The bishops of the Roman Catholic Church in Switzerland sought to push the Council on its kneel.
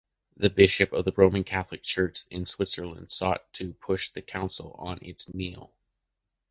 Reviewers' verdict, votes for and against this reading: rejected, 1, 2